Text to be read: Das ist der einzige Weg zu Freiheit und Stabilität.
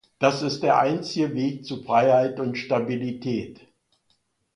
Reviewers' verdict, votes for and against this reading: accepted, 2, 0